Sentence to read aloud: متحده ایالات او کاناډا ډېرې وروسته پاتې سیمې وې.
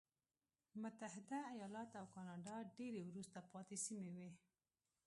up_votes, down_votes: 0, 2